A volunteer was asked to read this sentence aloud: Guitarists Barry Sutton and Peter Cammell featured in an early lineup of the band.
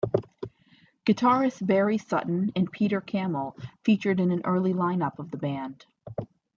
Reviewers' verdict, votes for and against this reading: accepted, 2, 0